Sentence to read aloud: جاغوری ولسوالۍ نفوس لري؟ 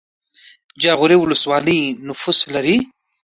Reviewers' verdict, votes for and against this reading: accepted, 2, 0